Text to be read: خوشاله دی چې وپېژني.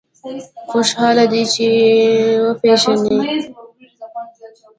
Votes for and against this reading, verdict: 1, 2, rejected